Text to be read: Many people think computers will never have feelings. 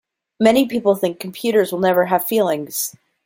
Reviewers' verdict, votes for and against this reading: accepted, 2, 0